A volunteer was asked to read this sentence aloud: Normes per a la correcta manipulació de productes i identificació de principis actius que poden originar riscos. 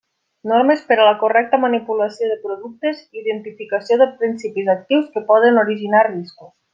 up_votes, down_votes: 2, 1